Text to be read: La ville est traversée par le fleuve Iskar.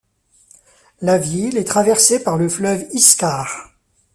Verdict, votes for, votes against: accepted, 2, 0